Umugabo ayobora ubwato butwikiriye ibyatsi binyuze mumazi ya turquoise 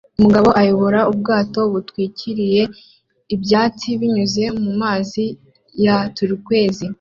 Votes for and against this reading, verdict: 2, 1, accepted